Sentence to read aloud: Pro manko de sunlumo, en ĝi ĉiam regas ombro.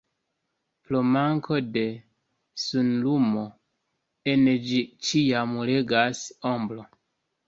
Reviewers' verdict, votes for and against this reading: accepted, 2, 0